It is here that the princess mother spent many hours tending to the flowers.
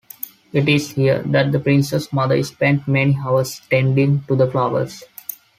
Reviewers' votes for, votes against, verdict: 1, 2, rejected